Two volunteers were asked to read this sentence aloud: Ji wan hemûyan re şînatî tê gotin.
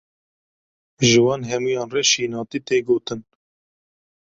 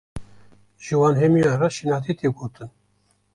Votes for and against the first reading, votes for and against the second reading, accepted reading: 2, 0, 1, 2, first